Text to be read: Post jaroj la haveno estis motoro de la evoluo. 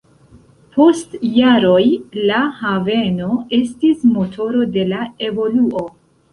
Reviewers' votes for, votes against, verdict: 3, 1, accepted